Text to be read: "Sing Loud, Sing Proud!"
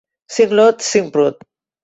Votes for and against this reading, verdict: 1, 2, rejected